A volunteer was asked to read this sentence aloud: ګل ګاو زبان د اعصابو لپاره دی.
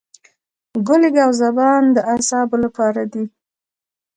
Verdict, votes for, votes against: accepted, 2, 0